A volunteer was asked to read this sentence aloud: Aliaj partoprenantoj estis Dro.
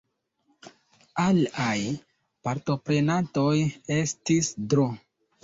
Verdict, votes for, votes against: rejected, 0, 2